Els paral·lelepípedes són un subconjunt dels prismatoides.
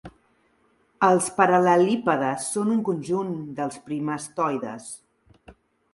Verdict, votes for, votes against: rejected, 0, 2